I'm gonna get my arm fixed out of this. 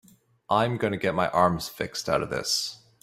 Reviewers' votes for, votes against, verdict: 0, 3, rejected